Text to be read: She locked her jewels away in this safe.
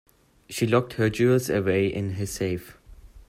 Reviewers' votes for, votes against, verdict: 0, 2, rejected